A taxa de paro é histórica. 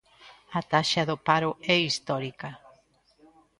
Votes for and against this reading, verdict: 0, 2, rejected